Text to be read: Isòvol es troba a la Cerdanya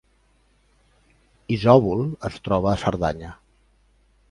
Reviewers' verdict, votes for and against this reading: rejected, 0, 3